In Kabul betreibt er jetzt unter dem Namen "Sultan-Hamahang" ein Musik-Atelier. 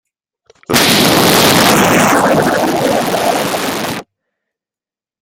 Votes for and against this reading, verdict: 0, 2, rejected